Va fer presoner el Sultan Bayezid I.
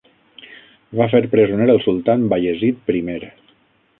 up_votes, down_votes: 6, 0